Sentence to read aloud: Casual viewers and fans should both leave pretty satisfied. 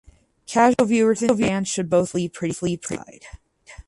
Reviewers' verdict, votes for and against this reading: rejected, 0, 4